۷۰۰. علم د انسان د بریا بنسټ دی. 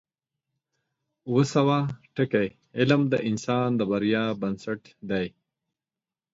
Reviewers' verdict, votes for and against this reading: rejected, 0, 2